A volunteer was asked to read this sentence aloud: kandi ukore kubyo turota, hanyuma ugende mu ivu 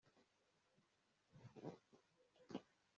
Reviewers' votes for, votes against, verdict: 0, 2, rejected